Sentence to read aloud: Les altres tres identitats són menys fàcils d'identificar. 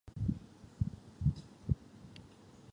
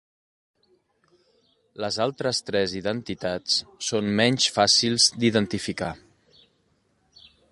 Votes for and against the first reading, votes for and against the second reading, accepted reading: 1, 2, 3, 0, second